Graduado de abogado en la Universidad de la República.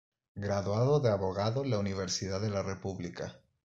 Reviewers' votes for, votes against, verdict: 2, 0, accepted